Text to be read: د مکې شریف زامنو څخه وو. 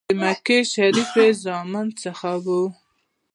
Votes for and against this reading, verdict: 2, 0, accepted